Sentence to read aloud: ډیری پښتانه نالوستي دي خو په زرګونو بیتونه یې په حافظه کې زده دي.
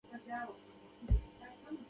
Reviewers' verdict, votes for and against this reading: rejected, 1, 2